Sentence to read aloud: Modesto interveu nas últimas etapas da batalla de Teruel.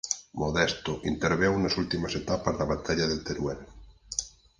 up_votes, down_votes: 4, 0